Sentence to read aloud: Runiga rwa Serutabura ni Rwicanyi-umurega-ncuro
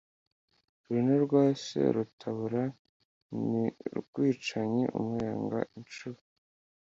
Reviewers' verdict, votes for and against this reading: rejected, 1, 2